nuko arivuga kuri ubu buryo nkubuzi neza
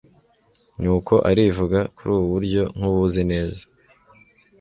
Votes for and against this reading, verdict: 1, 2, rejected